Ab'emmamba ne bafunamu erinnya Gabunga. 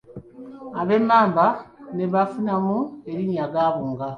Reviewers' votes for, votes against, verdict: 2, 0, accepted